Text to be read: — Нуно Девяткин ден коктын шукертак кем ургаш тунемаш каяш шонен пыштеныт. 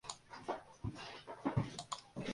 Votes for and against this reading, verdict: 0, 2, rejected